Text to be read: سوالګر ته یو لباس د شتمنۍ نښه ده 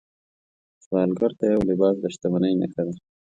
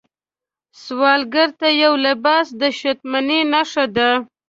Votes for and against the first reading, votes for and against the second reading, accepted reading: 2, 0, 0, 2, first